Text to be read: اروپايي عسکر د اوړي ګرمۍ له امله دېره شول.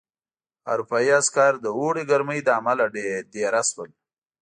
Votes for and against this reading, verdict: 2, 1, accepted